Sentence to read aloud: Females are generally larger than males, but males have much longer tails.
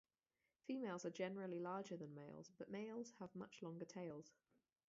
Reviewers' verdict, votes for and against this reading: rejected, 0, 2